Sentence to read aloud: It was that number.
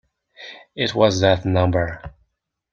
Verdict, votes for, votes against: accepted, 2, 0